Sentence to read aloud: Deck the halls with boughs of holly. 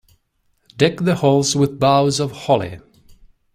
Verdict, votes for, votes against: accepted, 2, 0